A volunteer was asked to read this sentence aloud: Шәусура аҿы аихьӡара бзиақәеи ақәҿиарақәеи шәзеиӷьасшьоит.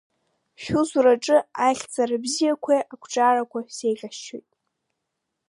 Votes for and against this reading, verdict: 1, 2, rejected